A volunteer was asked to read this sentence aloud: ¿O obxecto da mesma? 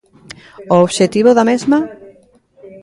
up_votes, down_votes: 0, 2